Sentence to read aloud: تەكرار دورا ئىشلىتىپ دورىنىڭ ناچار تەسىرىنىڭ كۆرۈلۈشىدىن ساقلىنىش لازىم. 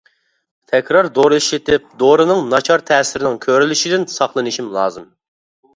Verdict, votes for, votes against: rejected, 0, 2